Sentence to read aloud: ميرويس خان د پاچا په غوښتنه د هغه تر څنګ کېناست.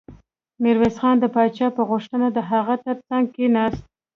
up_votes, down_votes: 1, 2